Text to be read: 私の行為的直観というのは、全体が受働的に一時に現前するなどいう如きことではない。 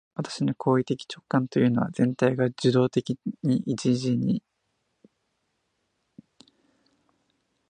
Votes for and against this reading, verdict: 0, 2, rejected